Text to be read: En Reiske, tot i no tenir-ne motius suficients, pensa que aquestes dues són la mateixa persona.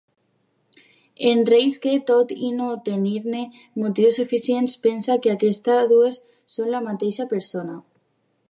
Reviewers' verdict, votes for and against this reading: rejected, 0, 2